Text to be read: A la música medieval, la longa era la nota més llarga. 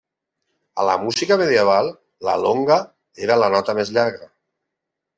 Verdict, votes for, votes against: rejected, 0, 2